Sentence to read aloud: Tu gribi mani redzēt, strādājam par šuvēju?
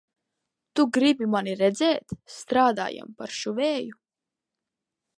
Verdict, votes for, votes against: accepted, 2, 0